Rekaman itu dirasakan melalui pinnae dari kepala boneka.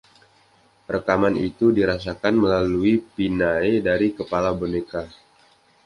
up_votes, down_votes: 2, 1